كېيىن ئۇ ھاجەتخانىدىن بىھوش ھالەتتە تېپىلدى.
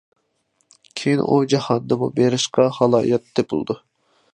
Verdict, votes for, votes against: rejected, 0, 3